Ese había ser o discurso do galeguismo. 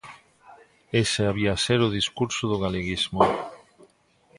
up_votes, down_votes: 2, 0